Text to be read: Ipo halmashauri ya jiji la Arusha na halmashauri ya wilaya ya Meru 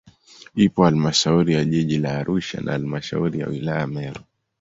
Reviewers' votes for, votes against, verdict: 2, 0, accepted